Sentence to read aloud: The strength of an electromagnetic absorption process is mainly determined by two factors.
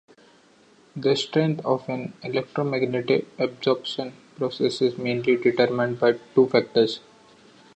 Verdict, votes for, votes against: accepted, 2, 0